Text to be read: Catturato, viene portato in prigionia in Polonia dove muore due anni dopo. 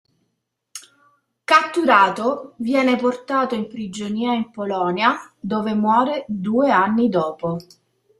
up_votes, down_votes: 2, 0